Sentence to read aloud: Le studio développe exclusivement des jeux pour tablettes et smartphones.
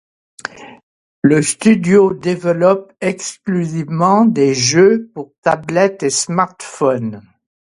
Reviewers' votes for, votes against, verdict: 2, 0, accepted